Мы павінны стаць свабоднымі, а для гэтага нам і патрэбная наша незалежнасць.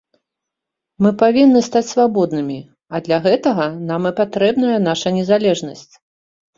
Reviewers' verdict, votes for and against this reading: accepted, 4, 0